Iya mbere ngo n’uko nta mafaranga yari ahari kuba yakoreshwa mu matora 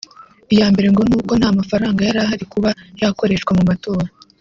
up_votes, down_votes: 0, 2